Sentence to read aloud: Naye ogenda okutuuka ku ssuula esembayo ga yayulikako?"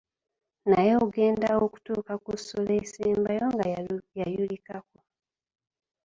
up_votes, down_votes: 1, 2